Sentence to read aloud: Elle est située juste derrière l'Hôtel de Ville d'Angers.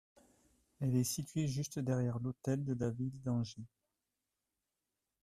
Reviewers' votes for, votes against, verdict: 0, 2, rejected